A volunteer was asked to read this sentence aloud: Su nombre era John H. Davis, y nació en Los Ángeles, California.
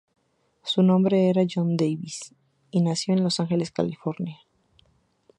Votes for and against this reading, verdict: 0, 2, rejected